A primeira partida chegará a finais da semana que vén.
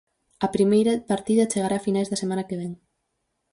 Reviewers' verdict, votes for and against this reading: rejected, 2, 2